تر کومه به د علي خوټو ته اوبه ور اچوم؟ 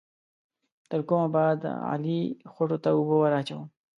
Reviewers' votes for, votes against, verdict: 2, 0, accepted